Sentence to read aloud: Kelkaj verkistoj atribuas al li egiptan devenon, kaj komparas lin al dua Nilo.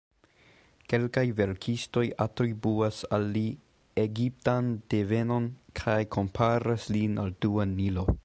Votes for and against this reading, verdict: 2, 0, accepted